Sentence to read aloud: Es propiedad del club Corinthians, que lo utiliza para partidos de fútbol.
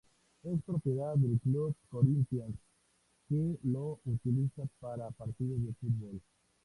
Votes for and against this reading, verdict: 2, 0, accepted